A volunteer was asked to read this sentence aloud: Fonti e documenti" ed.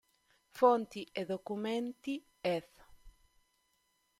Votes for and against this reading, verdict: 3, 1, accepted